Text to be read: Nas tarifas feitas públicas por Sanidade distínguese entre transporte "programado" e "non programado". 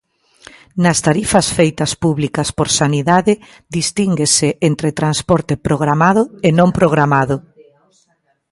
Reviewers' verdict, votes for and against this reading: accepted, 2, 0